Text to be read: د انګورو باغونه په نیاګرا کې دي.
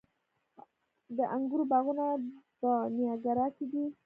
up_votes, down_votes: 0, 2